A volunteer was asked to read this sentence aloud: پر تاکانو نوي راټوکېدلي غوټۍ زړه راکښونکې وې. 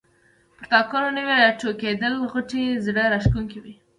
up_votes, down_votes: 2, 1